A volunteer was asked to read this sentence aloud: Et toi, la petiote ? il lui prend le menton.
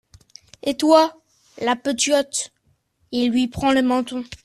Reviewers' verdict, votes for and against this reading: accepted, 2, 0